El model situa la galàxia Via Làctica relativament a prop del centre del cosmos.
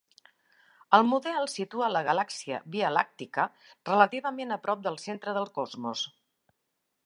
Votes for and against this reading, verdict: 2, 0, accepted